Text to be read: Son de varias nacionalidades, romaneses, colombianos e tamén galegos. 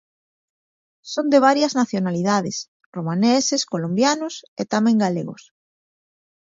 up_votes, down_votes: 2, 0